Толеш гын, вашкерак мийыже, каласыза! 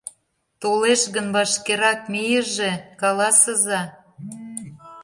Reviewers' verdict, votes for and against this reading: accepted, 2, 0